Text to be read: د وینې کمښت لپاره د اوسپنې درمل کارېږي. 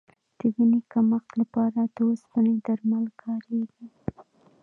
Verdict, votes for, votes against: rejected, 0, 2